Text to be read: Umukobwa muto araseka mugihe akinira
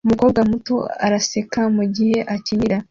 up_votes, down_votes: 2, 0